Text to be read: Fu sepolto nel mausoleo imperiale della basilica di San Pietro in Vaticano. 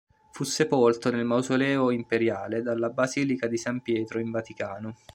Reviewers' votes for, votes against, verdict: 2, 3, rejected